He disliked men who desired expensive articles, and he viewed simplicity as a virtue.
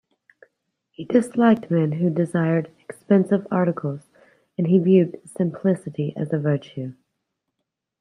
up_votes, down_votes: 2, 1